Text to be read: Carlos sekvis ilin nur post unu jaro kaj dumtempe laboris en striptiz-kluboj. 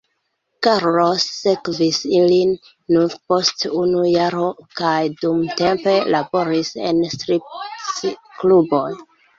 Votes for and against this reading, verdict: 1, 2, rejected